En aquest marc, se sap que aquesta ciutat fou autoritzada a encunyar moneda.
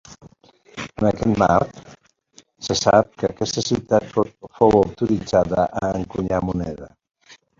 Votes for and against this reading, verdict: 0, 2, rejected